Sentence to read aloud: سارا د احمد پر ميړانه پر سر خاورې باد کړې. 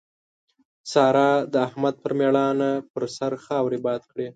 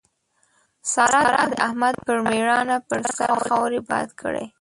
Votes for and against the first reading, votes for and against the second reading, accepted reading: 2, 0, 0, 2, first